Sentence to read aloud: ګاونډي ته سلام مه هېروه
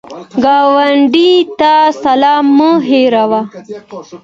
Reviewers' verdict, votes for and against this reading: accepted, 2, 0